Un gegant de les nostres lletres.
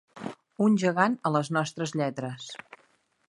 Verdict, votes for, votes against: rejected, 0, 2